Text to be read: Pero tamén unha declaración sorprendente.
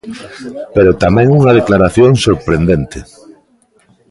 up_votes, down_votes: 0, 2